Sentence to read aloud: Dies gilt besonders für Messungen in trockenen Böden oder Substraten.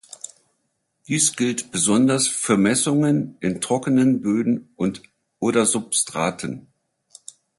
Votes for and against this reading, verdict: 0, 2, rejected